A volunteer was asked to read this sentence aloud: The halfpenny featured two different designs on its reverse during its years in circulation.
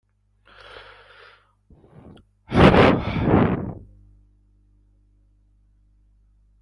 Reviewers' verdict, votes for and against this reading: rejected, 0, 2